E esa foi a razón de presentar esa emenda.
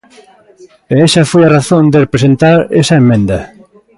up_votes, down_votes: 1, 2